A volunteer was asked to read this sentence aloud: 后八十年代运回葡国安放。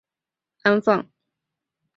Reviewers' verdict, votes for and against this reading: rejected, 0, 2